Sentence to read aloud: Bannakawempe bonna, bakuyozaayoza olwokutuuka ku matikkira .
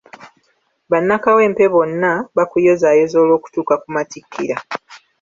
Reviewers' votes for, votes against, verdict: 2, 0, accepted